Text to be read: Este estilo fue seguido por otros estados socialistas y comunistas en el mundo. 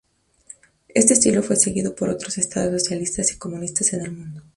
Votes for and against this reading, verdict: 2, 0, accepted